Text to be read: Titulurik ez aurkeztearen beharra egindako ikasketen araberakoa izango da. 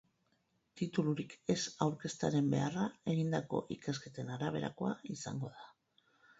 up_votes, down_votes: 2, 4